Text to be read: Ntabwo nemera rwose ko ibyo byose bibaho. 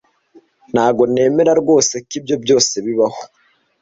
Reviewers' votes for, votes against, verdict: 2, 0, accepted